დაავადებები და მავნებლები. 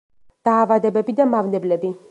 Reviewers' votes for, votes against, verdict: 2, 0, accepted